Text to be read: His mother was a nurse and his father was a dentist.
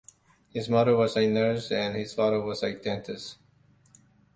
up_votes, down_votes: 2, 0